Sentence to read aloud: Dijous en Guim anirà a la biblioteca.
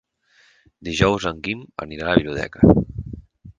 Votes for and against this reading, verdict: 2, 4, rejected